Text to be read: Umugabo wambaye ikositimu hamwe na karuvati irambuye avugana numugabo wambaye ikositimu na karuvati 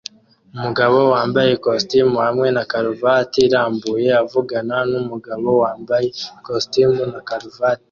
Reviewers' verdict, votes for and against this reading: rejected, 1, 2